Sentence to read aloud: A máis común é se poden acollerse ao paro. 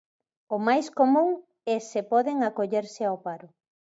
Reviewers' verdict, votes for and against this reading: rejected, 1, 2